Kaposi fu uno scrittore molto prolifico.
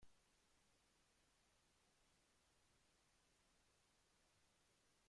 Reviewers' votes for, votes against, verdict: 0, 2, rejected